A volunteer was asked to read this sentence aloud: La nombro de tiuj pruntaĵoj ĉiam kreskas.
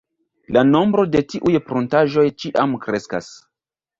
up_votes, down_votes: 0, 2